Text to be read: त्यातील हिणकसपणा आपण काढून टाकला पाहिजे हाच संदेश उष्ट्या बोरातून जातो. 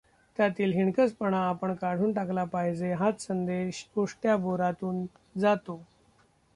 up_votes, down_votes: 1, 2